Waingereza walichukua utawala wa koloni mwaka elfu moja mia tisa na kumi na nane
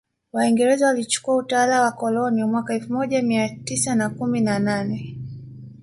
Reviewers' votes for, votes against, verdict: 2, 0, accepted